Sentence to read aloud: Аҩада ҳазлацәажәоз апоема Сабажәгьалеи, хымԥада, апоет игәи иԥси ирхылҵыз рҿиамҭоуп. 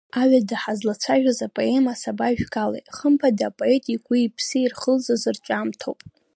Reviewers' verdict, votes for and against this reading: rejected, 1, 2